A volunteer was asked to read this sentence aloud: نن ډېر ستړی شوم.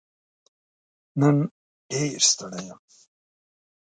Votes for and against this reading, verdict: 1, 2, rejected